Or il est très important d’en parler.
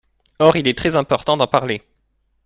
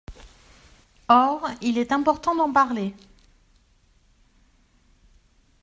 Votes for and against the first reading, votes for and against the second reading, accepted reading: 2, 0, 1, 2, first